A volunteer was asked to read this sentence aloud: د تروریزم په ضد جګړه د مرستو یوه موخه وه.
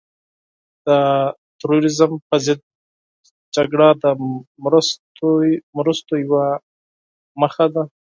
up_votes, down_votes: 2, 4